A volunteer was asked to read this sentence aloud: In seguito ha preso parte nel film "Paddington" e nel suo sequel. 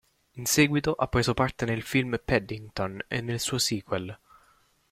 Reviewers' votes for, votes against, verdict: 2, 0, accepted